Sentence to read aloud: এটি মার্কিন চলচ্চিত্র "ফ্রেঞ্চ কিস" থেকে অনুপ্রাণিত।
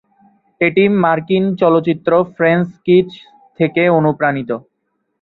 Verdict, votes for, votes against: rejected, 0, 2